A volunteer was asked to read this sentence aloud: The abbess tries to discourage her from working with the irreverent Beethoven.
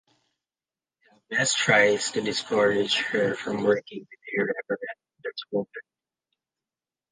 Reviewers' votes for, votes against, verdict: 0, 2, rejected